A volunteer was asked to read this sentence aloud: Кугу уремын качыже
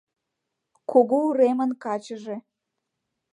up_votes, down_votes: 2, 0